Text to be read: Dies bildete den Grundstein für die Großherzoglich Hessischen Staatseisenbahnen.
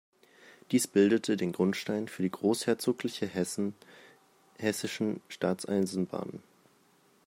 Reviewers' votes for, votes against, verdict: 0, 2, rejected